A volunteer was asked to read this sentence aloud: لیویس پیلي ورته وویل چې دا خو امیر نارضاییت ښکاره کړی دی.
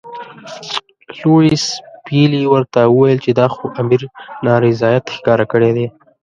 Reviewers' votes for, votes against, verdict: 0, 2, rejected